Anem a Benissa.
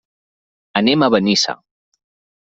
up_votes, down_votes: 4, 0